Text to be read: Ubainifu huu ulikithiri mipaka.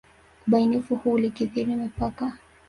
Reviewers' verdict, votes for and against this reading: rejected, 1, 2